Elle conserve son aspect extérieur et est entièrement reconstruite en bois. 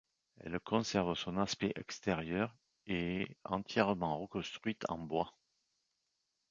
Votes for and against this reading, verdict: 2, 0, accepted